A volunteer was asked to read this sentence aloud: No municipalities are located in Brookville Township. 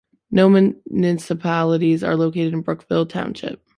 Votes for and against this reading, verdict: 0, 2, rejected